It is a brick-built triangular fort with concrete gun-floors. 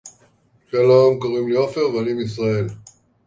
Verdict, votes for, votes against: rejected, 0, 2